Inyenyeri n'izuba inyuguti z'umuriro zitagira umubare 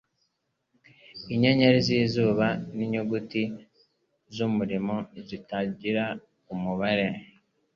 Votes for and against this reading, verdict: 0, 2, rejected